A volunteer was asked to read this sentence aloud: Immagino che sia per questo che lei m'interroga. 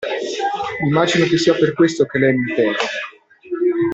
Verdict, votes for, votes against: rejected, 1, 2